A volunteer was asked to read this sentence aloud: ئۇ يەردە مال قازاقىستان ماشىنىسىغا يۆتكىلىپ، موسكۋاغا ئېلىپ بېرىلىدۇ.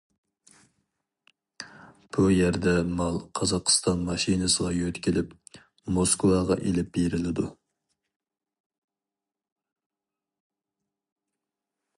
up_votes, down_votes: 0, 2